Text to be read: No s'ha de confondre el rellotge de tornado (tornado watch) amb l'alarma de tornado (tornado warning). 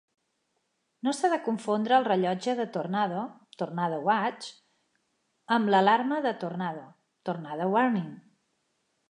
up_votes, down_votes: 3, 0